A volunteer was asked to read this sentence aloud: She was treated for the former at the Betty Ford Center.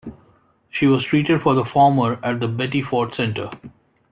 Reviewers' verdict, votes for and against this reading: accepted, 2, 0